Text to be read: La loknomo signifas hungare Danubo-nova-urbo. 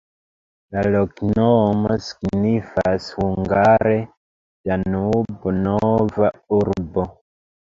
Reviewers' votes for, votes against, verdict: 0, 2, rejected